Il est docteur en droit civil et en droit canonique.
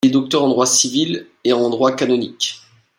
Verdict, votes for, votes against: rejected, 0, 2